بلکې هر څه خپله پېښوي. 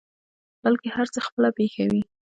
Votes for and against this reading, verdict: 2, 0, accepted